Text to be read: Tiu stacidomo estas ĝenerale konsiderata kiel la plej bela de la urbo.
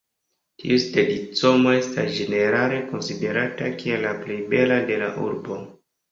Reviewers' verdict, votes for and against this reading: rejected, 1, 2